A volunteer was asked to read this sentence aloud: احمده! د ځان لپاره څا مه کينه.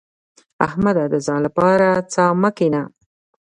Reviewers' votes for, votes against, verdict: 1, 2, rejected